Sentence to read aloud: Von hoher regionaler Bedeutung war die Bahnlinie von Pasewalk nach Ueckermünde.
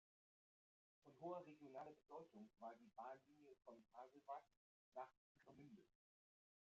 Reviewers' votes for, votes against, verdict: 0, 2, rejected